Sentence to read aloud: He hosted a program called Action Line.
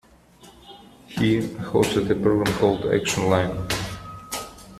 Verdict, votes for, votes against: accepted, 2, 1